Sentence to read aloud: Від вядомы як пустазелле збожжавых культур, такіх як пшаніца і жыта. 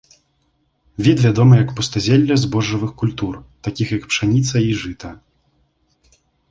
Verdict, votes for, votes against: accepted, 2, 0